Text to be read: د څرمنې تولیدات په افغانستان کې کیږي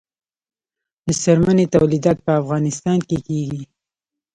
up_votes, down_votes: 2, 0